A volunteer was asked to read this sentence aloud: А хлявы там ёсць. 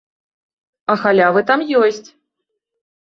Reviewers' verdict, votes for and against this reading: rejected, 1, 2